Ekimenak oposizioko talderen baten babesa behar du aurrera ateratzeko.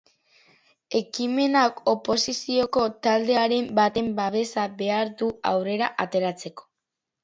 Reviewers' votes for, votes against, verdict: 0, 3, rejected